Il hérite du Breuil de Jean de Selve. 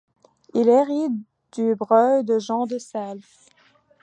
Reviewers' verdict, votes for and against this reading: accepted, 2, 1